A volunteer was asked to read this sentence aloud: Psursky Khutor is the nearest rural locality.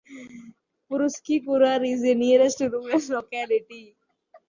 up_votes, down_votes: 0, 2